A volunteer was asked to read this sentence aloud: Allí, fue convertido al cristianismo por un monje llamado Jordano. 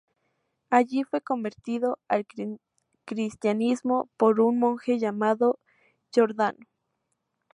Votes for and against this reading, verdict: 0, 2, rejected